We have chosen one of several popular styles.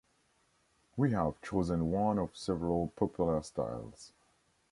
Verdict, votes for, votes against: accepted, 2, 0